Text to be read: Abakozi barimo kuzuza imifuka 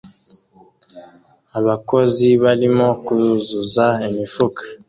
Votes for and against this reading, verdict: 2, 0, accepted